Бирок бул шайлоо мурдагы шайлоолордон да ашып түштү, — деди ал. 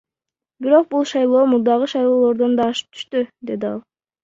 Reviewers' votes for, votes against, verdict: 2, 0, accepted